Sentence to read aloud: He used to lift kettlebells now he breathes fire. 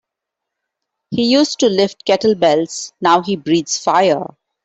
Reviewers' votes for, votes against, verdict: 2, 0, accepted